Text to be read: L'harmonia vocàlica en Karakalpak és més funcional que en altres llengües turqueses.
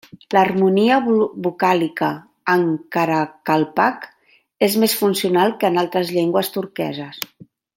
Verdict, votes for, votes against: accepted, 2, 1